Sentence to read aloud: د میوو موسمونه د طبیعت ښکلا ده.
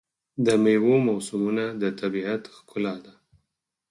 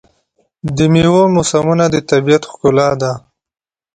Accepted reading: second